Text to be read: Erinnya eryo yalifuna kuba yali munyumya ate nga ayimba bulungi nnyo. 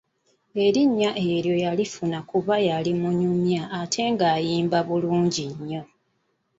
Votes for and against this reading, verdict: 2, 0, accepted